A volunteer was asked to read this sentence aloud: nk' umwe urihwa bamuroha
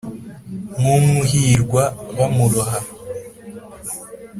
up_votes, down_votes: 3, 0